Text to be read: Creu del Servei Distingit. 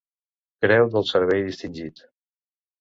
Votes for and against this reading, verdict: 2, 0, accepted